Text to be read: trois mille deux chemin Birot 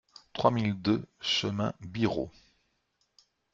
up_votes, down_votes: 2, 0